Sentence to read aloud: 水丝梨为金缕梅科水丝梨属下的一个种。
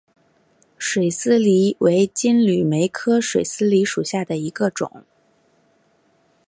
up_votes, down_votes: 8, 0